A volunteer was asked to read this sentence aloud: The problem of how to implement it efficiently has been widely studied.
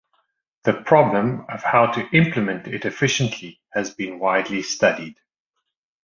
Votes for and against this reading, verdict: 2, 0, accepted